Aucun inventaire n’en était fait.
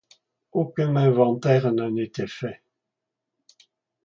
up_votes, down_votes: 1, 2